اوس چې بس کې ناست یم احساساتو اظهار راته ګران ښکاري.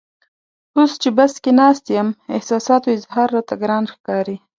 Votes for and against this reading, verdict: 2, 0, accepted